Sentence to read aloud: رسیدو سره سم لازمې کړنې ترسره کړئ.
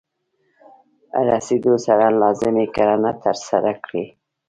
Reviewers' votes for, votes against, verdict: 2, 0, accepted